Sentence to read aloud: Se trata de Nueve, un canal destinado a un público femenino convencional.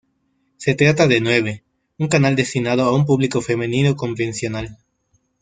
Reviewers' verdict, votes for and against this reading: accepted, 2, 0